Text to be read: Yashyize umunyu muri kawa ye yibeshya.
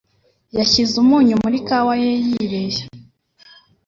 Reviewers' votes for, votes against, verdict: 3, 0, accepted